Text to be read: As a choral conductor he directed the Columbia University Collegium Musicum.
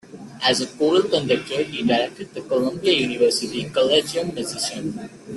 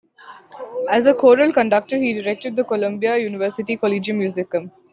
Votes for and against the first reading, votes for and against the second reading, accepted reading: 0, 2, 2, 0, second